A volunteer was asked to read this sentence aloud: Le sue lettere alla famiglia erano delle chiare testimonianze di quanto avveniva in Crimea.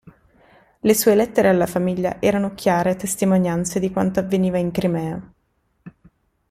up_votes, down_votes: 1, 2